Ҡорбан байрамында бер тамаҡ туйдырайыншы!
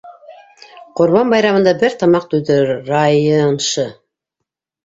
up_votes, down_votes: 0, 2